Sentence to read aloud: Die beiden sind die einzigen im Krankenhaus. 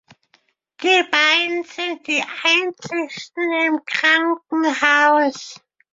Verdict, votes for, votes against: rejected, 0, 2